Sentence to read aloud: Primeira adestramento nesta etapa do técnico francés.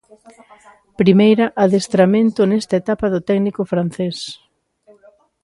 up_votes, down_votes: 2, 0